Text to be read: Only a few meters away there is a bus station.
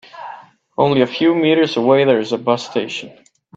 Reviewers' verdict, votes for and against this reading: accepted, 2, 0